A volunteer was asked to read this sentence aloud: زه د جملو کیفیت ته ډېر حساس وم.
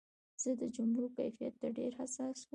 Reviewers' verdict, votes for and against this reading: accepted, 2, 1